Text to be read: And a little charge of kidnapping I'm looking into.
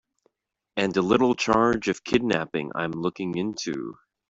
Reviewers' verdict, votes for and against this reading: accepted, 2, 0